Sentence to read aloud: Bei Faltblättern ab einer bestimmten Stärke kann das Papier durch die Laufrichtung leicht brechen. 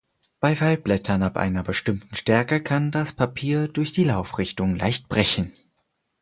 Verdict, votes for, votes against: accepted, 4, 0